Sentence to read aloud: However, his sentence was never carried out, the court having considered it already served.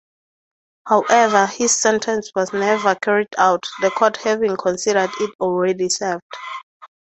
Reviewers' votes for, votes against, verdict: 2, 0, accepted